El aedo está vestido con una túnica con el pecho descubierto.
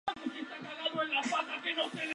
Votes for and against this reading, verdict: 0, 2, rejected